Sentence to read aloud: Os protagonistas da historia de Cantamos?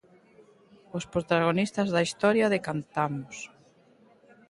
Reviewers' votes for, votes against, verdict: 2, 1, accepted